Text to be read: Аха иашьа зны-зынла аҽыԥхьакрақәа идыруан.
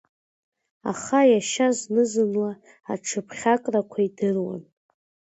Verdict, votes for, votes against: rejected, 1, 3